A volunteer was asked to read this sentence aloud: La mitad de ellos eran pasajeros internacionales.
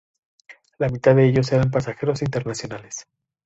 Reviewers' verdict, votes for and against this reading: accepted, 2, 0